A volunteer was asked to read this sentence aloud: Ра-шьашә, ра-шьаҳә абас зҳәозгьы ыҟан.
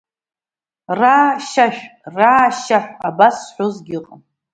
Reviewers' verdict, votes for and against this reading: accepted, 2, 1